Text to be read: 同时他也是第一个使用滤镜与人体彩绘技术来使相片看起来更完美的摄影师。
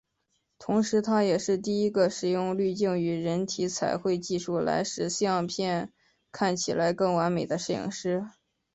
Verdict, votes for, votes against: accepted, 2, 1